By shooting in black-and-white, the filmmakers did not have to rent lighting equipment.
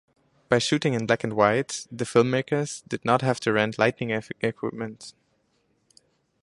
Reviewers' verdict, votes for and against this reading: rejected, 2, 2